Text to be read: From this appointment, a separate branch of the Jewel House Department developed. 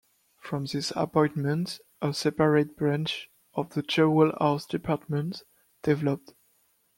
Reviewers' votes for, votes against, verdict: 2, 0, accepted